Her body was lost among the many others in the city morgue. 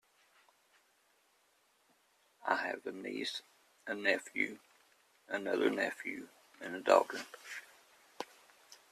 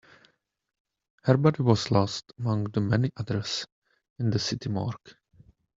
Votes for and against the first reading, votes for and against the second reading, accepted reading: 1, 2, 2, 0, second